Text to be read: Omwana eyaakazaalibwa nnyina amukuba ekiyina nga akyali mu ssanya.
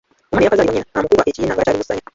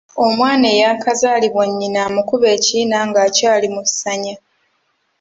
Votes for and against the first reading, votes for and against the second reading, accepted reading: 0, 2, 2, 0, second